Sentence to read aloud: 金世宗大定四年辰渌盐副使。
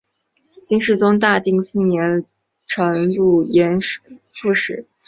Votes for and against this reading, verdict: 2, 1, accepted